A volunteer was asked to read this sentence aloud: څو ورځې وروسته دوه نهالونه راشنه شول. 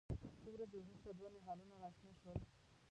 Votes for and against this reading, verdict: 1, 2, rejected